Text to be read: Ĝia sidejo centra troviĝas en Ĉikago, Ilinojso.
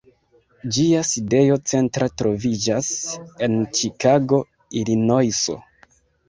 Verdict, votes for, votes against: accepted, 2, 1